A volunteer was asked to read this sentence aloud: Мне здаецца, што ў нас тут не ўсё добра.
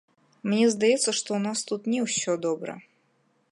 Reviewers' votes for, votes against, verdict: 2, 0, accepted